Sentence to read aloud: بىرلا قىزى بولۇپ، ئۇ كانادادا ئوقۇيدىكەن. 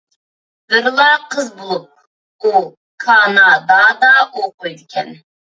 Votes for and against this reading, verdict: 0, 2, rejected